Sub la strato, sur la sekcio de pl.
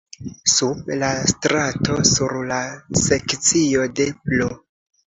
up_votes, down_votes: 2, 0